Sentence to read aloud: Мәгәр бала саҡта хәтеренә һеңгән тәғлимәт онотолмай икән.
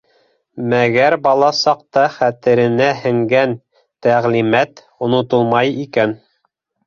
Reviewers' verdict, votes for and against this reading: accepted, 2, 0